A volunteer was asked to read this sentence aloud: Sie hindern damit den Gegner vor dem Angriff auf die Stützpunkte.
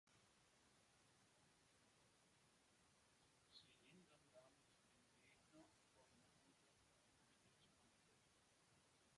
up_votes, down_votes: 0, 3